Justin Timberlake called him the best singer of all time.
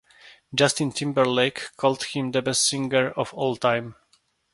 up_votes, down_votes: 2, 0